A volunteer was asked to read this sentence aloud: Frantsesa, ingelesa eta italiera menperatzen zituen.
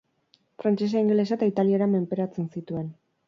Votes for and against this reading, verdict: 0, 2, rejected